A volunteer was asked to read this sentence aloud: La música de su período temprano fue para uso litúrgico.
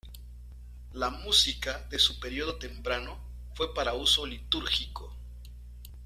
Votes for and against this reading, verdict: 2, 0, accepted